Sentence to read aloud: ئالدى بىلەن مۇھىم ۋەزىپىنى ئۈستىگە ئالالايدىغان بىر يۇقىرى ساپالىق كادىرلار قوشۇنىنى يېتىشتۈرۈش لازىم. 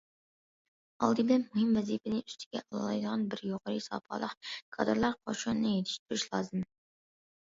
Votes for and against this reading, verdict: 2, 0, accepted